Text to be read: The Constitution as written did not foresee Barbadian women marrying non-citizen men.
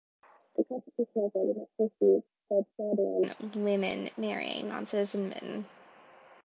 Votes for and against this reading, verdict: 0, 2, rejected